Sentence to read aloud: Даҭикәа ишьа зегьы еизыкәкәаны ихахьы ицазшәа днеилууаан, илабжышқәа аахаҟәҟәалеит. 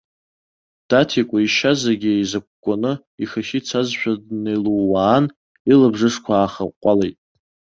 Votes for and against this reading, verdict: 2, 0, accepted